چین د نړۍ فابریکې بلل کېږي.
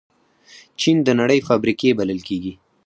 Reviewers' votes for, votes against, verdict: 4, 2, accepted